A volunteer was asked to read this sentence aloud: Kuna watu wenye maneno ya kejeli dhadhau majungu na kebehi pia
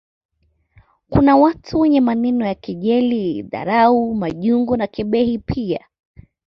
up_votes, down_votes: 2, 0